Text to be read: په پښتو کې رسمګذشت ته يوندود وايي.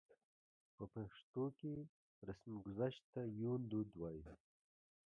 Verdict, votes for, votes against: rejected, 1, 2